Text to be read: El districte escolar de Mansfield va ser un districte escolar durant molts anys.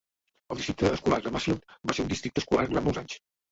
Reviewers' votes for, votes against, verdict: 0, 2, rejected